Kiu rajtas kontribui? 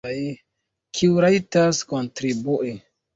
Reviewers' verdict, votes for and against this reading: accepted, 2, 0